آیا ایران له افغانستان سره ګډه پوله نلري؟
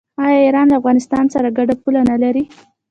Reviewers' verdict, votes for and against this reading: accepted, 2, 0